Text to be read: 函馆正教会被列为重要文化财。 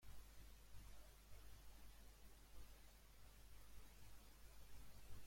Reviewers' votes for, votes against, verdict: 0, 2, rejected